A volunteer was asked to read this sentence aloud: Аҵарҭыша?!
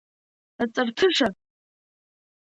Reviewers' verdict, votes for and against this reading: accepted, 2, 0